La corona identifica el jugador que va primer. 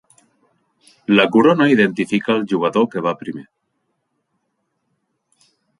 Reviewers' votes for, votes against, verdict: 3, 0, accepted